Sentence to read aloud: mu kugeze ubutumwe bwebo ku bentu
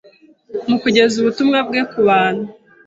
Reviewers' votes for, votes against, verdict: 0, 2, rejected